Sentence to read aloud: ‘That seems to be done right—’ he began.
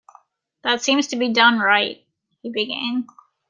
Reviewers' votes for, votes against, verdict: 1, 2, rejected